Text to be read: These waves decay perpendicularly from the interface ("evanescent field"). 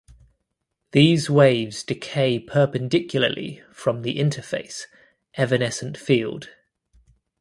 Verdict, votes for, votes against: accepted, 2, 0